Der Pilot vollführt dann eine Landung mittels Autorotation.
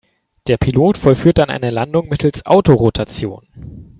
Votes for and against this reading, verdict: 3, 0, accepted